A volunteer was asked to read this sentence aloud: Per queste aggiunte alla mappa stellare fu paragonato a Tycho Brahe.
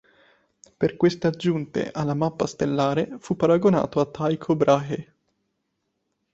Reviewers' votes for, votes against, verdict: 1, 2, rejected